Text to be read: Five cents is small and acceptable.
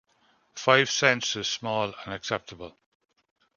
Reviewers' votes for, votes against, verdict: 2, 0, accepted